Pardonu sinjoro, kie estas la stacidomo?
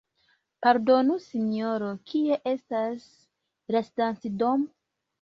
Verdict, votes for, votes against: accepted, 2, 0